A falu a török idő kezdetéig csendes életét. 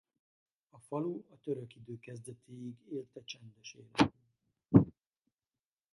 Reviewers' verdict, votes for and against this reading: rejected, 0, 2